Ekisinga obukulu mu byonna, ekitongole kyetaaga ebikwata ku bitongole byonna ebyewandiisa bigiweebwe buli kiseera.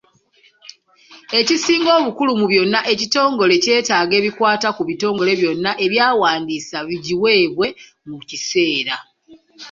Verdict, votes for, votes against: rejected, 1, 2